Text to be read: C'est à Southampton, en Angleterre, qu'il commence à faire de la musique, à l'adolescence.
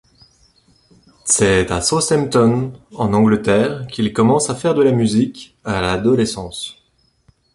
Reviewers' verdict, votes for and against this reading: accepted, 2, 0